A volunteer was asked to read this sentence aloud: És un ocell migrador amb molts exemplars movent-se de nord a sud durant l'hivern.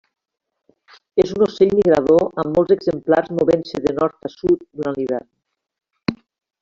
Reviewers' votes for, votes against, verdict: 2, 1, accepted